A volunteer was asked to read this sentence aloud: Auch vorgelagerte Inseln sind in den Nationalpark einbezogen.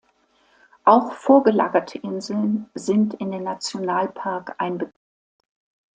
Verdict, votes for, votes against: rejected, 0, 2